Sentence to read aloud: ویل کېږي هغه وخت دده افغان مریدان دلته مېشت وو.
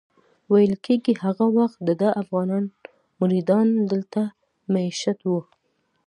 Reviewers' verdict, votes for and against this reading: accepted, 2, 0